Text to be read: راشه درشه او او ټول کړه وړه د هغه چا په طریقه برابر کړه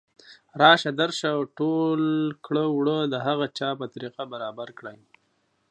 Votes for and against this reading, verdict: 1, 2, rejected